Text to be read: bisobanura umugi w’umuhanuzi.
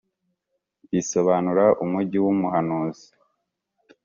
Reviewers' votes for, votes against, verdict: 2, 0, accepted